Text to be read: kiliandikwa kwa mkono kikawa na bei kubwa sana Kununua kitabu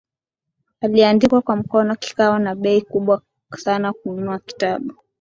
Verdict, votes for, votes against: accepted, 2, 0